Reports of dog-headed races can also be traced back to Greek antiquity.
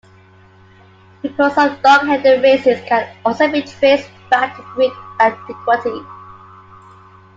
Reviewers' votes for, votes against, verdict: 2, 1, accepted